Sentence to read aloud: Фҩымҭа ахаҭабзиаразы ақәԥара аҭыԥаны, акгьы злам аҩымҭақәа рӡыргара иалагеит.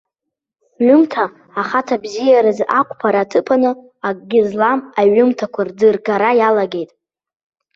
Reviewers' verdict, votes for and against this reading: rejected, 1, 2